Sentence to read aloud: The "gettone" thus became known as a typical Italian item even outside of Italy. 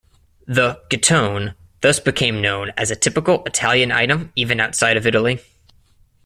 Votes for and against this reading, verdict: 2, 0, accepted